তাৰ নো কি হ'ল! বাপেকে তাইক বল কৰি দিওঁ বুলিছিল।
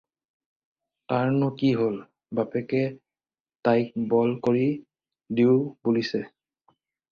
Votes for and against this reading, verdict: 0, 4, rejected